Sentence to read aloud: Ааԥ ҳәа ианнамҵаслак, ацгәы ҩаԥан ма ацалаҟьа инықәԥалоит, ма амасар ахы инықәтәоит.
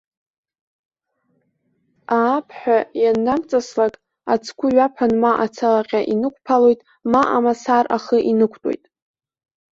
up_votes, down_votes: 1, 2